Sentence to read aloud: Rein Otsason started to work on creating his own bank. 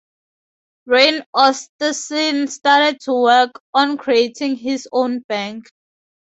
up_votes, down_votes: 0, 2